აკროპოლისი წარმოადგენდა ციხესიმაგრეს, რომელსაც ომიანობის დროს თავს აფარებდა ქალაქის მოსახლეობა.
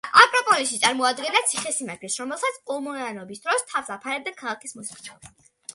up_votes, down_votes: 1, 2